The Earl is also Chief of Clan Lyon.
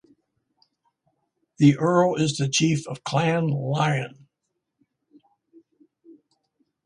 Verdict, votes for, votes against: rejected, 0, 2